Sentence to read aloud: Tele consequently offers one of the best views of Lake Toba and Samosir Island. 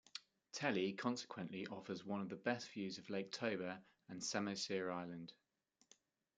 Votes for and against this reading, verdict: 2, 0, accepted